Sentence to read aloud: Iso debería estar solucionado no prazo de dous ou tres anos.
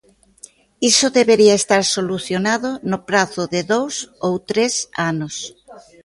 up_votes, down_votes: 2, 0